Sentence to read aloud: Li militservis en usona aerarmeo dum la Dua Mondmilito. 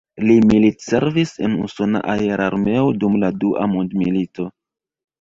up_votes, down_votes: 1, 2